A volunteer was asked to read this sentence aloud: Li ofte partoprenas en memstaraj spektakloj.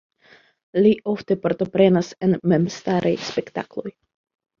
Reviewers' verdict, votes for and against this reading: rejected, 1, 2